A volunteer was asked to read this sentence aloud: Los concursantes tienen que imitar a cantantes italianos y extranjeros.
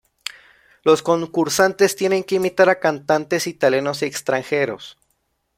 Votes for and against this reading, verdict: 1, 2, rejected